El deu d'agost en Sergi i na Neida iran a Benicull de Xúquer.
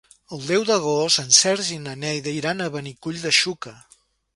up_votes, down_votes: 3, 0